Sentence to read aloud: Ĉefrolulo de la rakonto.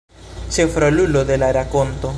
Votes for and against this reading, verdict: 2, 0, accepted